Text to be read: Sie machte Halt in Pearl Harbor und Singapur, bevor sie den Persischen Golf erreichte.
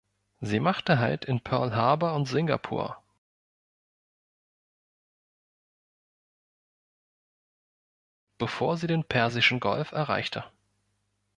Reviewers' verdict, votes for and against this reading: rejected, 1, 2